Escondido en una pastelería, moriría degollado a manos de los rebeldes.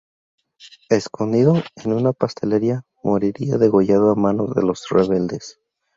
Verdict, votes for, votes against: accepted, 2, 0